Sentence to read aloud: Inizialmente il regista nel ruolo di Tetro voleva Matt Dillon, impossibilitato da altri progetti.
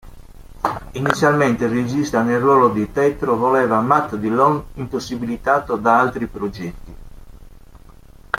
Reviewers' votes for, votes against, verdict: 1, 2, rejected